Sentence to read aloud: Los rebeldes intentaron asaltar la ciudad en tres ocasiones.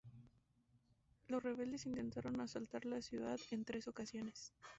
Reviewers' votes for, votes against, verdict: 0, 2, rejected